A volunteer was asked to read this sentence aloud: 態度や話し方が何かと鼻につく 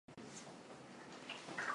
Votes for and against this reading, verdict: 0, 2, rejected